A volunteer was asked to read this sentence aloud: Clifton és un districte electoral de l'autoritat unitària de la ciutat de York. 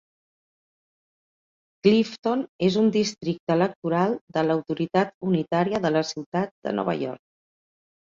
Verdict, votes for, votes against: rejected, 0, 4